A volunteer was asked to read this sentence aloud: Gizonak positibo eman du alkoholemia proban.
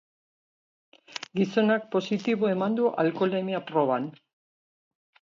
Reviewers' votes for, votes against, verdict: 2, 3, rejected